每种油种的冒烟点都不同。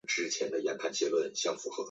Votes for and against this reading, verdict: 1, 2, rejected